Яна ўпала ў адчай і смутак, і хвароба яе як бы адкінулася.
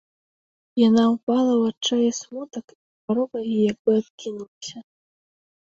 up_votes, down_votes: 0, 2